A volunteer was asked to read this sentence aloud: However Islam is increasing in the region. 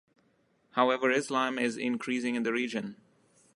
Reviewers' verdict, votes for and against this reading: accepted, 3, 0